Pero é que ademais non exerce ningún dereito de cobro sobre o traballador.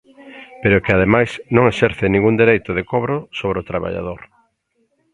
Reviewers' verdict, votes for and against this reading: accepted, 2, 0